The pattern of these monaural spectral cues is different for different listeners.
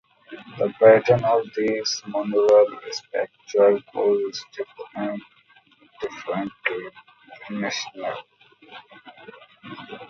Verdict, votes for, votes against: rejected, 0, 2